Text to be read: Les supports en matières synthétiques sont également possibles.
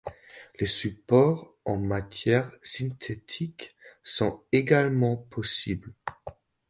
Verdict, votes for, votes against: rejected, 1, 2